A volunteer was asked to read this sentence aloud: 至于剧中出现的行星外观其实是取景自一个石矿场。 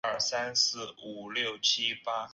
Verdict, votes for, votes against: rejected, 0, 3